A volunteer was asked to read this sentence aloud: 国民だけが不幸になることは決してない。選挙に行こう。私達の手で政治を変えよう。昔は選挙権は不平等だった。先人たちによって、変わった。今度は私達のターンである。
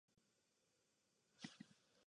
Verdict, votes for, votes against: rejected, 0, 2